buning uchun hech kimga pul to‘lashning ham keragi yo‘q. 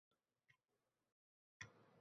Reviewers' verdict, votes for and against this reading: rejected, 0, 2